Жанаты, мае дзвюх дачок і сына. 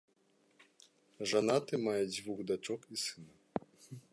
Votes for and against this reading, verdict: 0, 2, rejected